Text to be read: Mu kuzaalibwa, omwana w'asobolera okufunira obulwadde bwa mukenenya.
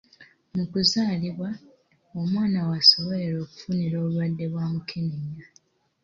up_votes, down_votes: 2, 0